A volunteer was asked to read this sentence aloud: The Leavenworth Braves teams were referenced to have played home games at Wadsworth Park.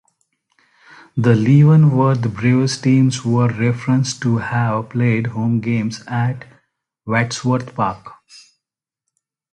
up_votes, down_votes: 2, 0